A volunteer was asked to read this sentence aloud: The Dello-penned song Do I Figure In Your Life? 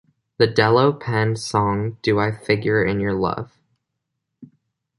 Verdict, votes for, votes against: rejected, 0, 2